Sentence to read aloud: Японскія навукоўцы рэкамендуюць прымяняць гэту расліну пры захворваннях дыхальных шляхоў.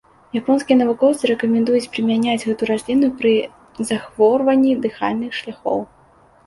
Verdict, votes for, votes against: rejected, 0, 2